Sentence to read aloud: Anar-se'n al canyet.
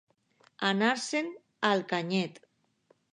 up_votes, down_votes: 2, 0